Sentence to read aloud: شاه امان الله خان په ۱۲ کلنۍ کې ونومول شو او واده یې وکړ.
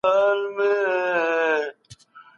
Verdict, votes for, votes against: rejected, 0, 2